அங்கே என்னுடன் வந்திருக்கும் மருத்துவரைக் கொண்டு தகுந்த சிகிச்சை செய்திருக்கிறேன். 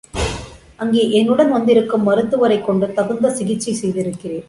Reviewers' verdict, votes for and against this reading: accepted, 2, 0